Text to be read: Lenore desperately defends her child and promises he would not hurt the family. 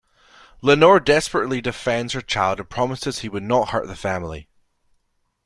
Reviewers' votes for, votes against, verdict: 2, 0, accepted